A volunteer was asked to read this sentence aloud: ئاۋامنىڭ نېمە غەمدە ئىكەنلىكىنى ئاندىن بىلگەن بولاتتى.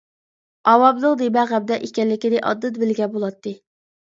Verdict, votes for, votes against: accepted, 2, 1